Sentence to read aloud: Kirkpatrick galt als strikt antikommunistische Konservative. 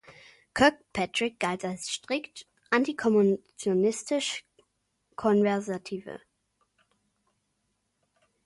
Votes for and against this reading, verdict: 0, 2, rejected